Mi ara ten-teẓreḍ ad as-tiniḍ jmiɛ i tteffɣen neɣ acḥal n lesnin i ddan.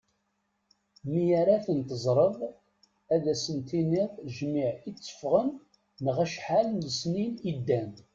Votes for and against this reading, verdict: 2, 0, accepted